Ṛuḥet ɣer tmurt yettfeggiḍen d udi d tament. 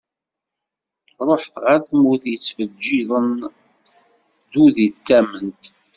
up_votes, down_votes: 1, 2